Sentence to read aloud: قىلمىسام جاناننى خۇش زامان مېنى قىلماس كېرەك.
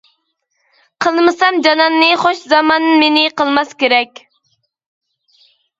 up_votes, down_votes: 2, 0